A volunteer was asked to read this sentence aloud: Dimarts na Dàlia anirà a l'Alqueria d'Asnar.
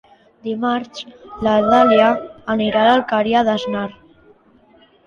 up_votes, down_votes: 1, 2